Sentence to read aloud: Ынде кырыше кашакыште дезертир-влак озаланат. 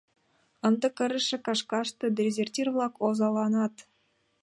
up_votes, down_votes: 1, 2